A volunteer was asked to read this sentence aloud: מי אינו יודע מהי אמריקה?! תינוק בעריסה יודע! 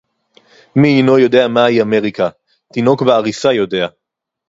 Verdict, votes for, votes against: accepted, 4, 0